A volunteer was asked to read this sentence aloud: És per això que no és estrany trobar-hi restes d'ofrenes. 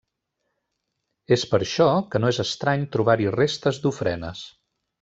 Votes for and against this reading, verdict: 3, 0, accepted